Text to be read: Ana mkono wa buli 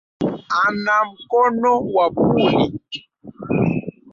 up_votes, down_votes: 0, 2